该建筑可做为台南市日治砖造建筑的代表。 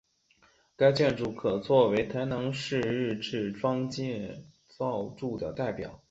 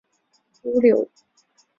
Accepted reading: first